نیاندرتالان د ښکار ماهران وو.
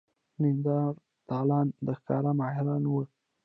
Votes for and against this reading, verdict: 1, 2, rejected